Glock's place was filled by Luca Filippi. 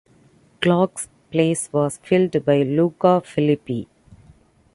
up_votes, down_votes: 2, 0